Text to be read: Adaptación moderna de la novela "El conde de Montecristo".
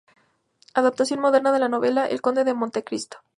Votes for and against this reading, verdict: 4, 0, accepted